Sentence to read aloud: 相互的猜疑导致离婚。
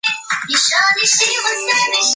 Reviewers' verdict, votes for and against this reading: rejected, 0, 2